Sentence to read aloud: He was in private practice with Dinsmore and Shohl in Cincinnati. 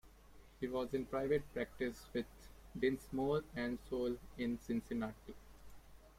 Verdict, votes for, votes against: accepted, 2, 0